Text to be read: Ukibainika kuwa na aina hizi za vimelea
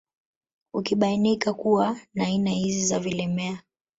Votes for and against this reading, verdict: 1, 2, rejected